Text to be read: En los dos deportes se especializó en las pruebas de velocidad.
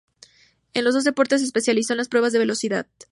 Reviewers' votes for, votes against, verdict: 2, 2, rejected